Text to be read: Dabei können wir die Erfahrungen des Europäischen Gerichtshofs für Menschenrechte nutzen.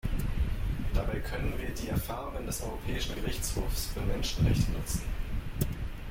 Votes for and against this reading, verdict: 1, 2, rejected